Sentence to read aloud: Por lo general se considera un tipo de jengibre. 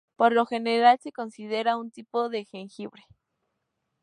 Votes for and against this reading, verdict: 2, 0, accepted